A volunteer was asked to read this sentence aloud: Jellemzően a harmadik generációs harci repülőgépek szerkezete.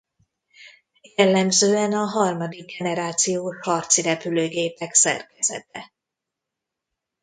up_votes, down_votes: 0, 2